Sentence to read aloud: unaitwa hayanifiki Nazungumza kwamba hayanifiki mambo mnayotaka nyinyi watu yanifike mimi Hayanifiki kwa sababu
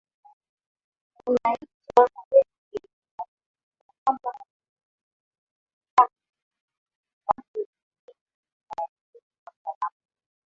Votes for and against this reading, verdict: 2, 5, rejected